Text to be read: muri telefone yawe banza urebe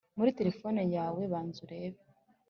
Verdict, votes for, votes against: accepted, 2, 0